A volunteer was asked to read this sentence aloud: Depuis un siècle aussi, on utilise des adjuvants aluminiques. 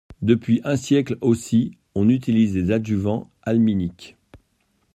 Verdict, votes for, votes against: rejected, 0, 2